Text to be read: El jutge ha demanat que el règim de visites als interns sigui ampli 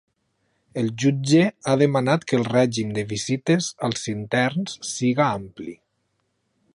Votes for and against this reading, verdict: 0, 2, rejected